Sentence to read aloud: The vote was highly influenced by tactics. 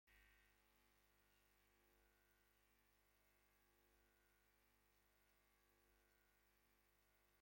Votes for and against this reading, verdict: 0, 2, rejected